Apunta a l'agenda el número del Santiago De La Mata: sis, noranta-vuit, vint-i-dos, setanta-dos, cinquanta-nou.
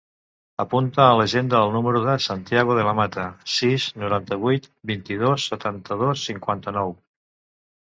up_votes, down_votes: 0, 2